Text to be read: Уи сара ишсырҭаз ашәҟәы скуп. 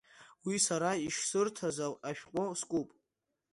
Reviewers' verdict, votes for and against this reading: accepted, 2, 0